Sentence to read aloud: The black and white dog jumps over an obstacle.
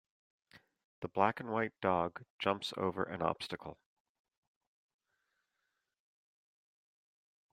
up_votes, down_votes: 2, 0